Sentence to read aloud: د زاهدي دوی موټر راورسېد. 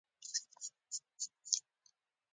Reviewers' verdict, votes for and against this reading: rejected, 1, 2